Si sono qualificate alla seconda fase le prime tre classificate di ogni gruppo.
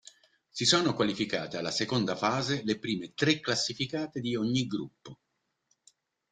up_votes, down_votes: 2, 0